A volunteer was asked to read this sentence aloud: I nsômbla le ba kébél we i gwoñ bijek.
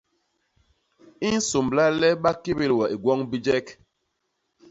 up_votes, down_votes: 2, 0